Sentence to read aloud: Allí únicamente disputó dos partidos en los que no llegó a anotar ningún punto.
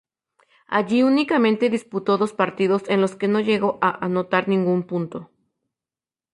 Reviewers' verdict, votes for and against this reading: accepted, 2, 0